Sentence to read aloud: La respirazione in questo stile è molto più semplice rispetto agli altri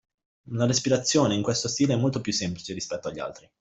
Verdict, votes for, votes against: accepted, 2, 0